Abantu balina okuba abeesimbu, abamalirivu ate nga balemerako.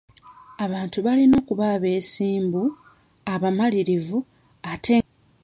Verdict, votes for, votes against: rejected, 0, 2